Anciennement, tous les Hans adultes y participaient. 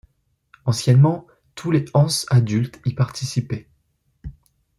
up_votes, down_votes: 1, 2